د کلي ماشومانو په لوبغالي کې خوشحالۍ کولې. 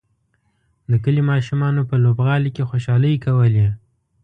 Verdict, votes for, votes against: accepted, 2, 0